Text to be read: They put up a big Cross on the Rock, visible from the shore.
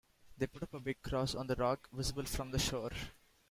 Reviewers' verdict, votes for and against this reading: accepted, 2, 0